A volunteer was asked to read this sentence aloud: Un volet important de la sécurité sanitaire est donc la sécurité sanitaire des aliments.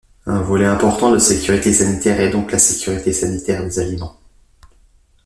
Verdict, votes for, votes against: rejected, 0, 2